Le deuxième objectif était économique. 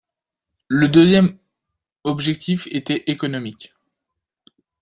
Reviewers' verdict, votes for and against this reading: rejected, 0, 2